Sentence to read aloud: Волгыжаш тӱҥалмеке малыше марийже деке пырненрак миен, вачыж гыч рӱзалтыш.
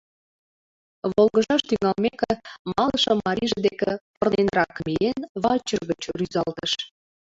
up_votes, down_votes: 1, 2